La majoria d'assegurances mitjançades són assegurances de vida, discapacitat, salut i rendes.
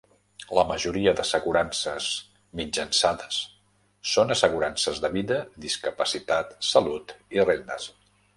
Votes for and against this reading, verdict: 0, 2, rejected